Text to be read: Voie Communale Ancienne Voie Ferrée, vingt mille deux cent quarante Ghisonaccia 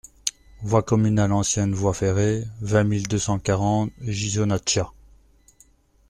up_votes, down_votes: 2, 1